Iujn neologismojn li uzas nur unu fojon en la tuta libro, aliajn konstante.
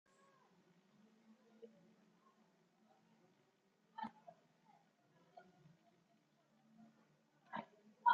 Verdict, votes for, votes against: rejected, 1, 2